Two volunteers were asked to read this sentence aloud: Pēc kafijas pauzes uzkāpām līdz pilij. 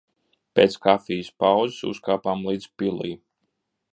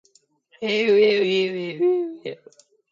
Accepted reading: first